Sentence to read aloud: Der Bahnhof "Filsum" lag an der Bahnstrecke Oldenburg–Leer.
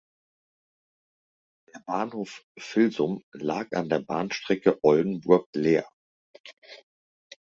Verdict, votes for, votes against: accepted, 2, 0